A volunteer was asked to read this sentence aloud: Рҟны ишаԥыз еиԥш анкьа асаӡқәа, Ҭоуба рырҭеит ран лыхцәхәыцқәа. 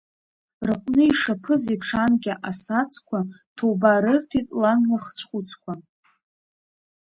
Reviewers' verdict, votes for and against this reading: rejected, 0, 2